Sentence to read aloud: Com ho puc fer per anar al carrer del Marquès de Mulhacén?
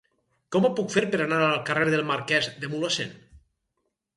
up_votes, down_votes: 4, 0